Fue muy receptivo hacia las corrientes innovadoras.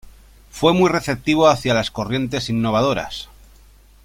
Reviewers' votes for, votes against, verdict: 2, 0, accepted